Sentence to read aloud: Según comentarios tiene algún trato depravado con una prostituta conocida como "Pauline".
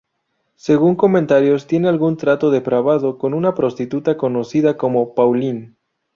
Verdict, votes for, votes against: accepted, 4, 0